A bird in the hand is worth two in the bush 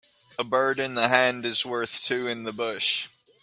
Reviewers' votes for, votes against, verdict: 2, 0, accepted